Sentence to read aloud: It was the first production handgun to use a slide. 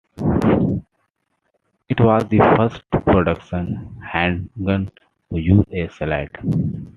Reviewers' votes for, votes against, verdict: 2, 0, accepted